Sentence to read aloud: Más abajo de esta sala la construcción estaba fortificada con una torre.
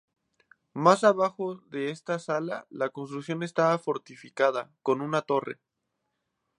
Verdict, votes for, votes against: rejected, 2, 2